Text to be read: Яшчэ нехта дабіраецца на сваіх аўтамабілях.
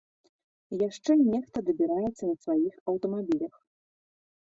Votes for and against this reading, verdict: 2, 0, accepted